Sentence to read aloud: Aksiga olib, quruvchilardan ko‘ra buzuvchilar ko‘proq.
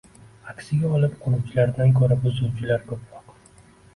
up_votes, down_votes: 2, 0